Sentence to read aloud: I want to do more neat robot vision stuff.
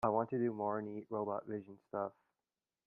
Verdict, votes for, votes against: rejected, 1, 2